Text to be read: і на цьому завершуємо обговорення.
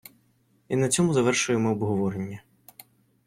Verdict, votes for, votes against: accepted, 2, 0